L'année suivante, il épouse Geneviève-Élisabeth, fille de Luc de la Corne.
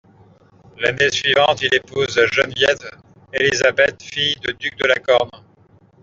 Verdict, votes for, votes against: rejected, 1, 2